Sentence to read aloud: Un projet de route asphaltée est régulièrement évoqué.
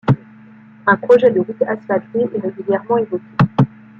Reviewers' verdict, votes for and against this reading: accepted, 2, 1